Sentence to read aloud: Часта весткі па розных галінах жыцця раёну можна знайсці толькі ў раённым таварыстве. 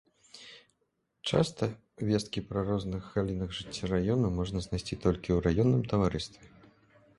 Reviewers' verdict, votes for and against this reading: rejected, 0, 2